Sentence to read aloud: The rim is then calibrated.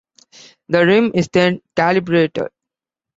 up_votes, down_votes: 1, 2